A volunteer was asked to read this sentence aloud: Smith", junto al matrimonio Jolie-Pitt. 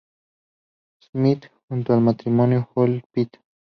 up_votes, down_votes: 0, 2